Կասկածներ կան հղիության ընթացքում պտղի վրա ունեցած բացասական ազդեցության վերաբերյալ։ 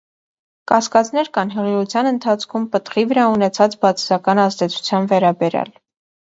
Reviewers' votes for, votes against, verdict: 2, 0, accepted